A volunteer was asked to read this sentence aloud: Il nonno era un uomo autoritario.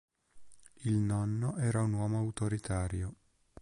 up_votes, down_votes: 3, 0